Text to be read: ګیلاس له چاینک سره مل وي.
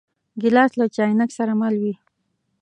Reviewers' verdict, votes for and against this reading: rejected, 0, 2